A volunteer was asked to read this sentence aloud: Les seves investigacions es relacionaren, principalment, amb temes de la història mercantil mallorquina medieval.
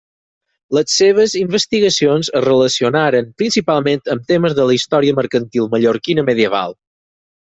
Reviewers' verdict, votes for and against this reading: accepted, 6, 0